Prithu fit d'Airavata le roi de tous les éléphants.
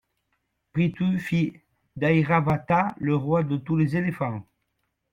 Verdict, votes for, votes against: accepted, 2, 0